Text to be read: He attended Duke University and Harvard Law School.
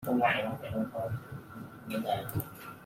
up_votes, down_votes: 0, 2